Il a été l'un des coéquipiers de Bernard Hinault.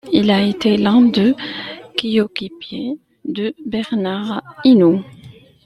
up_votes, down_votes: 0, 2